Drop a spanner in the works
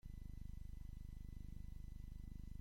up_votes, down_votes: 0, 2